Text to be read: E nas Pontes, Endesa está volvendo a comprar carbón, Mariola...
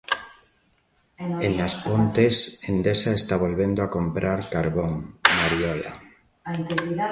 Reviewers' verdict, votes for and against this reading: rejected, 0, 2